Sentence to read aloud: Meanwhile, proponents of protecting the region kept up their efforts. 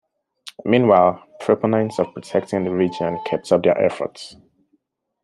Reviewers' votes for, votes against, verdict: 1, 2, rejected